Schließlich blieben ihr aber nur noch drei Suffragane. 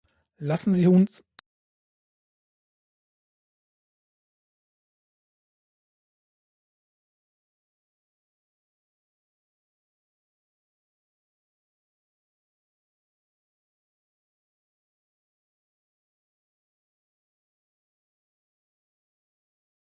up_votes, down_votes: 0, 2